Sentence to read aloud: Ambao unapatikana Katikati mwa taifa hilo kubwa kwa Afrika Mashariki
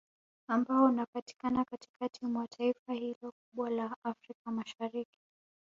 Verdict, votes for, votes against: rejected, 0, 2